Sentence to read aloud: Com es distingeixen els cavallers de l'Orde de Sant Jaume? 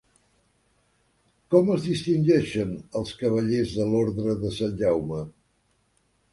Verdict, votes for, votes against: accepted, 3, 0